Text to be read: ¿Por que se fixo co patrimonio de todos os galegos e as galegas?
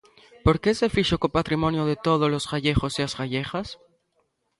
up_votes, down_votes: 1, 2